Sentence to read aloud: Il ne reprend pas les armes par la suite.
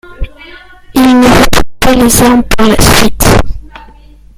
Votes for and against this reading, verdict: 1, 2, rejected